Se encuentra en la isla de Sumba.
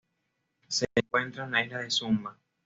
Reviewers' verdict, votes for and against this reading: accepted, 2, 0